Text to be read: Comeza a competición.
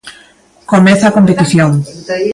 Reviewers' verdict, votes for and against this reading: rejected, 1, 2